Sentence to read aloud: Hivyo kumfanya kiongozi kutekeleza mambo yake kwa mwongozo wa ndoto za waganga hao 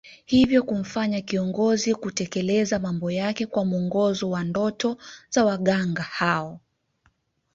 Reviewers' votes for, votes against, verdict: 2, 0, accepted